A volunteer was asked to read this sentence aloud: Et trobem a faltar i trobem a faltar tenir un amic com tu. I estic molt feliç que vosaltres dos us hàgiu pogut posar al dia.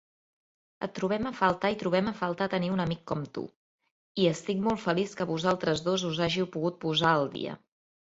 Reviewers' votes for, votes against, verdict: 3, 0, accepted